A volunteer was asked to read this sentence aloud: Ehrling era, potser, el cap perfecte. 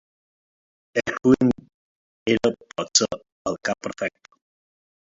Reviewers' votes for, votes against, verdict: 0, 2, rejected